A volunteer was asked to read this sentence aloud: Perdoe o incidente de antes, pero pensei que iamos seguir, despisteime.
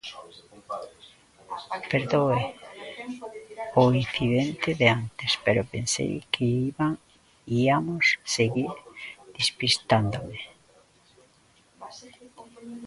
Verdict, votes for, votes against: rejected, 0, 2